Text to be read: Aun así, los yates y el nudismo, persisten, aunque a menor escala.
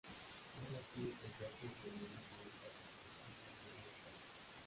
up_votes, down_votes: 0, 2